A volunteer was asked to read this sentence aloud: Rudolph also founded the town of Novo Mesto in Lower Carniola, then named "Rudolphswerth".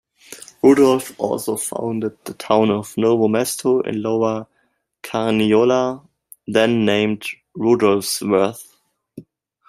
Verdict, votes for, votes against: rejected, 0, 2